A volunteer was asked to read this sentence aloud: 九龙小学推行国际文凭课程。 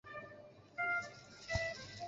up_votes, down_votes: 1, 2